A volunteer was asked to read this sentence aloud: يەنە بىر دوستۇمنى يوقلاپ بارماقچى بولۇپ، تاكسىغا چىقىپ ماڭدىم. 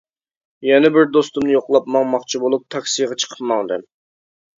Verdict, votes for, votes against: rejected, 1, 2